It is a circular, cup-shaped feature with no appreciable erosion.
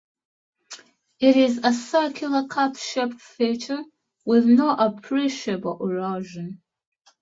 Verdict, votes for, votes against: accepted, 2, 0